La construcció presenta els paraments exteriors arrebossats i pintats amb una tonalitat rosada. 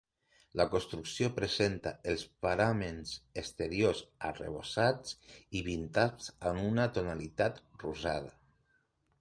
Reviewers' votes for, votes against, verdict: 2, 3, rejected